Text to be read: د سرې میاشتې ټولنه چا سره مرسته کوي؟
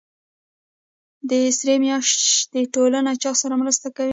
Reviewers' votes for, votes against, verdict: 0, 2, rejected